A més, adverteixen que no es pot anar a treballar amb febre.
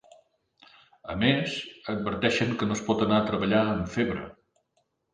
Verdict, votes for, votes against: accepted, 3, 0